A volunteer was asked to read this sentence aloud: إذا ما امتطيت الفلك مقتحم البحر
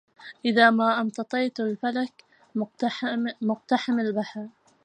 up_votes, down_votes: 0, 2